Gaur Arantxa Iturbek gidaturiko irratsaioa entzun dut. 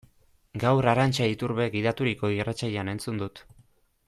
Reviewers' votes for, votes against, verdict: 2, 1, accepted